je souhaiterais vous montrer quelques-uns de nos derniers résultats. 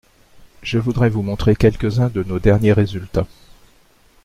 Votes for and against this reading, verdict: 0, 2, rejected